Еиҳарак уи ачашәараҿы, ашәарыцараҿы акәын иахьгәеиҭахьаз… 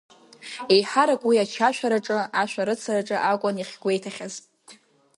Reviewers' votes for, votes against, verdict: 4, 0, accepted